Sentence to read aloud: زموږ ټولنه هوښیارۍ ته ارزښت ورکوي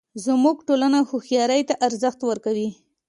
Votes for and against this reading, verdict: 2, 0, accepted